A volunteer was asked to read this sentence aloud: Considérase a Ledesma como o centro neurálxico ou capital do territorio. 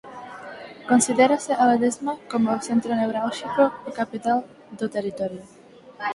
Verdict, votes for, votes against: accepted, 4, 0